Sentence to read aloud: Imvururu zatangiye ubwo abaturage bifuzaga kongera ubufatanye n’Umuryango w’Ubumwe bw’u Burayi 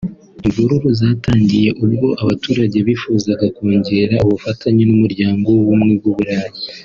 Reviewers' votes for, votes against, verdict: 4, 0, accepted